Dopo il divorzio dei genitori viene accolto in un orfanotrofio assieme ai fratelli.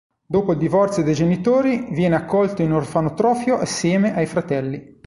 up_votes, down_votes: 1, 2